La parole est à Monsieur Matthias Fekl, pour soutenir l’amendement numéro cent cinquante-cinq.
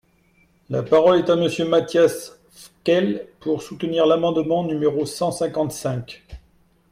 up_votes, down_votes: 0, 2